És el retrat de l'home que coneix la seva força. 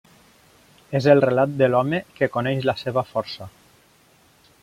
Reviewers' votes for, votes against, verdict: 0, 2, rejected